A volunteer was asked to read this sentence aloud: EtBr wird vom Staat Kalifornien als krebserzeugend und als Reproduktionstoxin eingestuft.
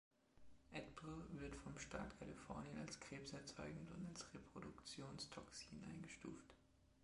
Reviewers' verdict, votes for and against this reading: rejected, 1, 2